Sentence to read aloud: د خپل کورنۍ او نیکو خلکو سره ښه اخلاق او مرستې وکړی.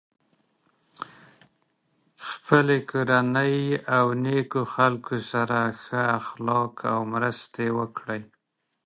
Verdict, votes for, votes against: rejected, 1, 2